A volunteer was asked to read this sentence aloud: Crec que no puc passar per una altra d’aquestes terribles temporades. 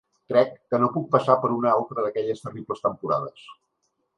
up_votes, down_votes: 1, 2